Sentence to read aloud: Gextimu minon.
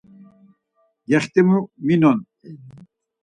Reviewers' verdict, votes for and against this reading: accepted, 4, 0